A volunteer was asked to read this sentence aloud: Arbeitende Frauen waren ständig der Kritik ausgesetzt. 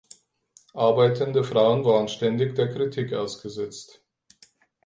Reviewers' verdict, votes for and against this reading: accepted, 4, 0